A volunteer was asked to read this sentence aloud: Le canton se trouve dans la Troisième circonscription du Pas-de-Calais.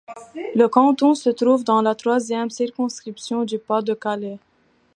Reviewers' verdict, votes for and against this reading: accepted, 2, 0